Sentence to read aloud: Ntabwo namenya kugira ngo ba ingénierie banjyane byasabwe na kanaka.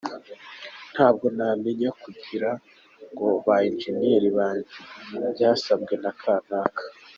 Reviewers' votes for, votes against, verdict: 3, 2, accepted